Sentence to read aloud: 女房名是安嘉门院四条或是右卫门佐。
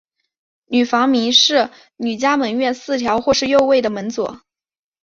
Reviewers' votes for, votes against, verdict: 2, 0, accepted